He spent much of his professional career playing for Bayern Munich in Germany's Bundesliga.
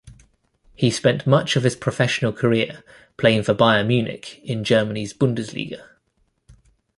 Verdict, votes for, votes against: accepted, 2, 0